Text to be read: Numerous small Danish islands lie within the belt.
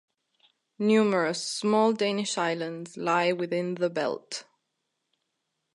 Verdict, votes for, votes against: accepted, 2, 0